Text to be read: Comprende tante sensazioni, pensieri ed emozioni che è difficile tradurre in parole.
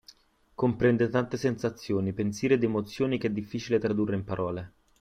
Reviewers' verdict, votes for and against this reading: accepted, 2, 0